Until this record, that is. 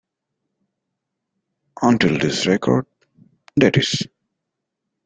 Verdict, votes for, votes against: accepted, 2, 0